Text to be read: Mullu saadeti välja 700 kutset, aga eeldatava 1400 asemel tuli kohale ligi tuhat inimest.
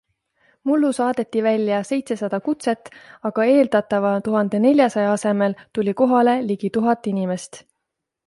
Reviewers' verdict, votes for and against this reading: rejected, 0, 2